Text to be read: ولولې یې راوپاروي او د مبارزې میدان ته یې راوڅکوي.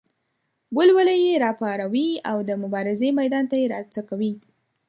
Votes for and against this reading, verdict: 2, 0, accepted